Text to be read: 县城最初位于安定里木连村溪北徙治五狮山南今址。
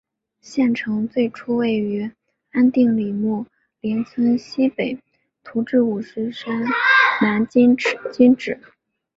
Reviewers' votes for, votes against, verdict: 5, 1, accepted